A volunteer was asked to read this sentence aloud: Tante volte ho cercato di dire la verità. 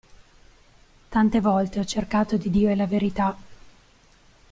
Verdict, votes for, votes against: accepted, 2, 0